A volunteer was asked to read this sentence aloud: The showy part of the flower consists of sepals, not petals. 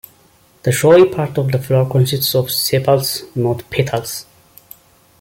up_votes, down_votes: 1, 2